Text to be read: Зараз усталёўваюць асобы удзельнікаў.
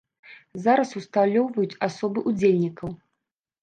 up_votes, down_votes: 1, 2